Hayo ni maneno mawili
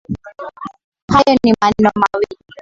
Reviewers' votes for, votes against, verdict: 0, 2, rejected